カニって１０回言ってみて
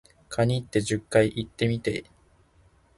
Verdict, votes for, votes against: rejected, 0, 2